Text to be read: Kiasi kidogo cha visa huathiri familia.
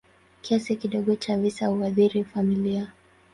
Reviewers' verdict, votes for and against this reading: rejected, 2, 2